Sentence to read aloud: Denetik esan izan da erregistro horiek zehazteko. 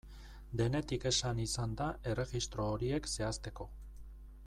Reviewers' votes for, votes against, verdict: 0, 2, rejected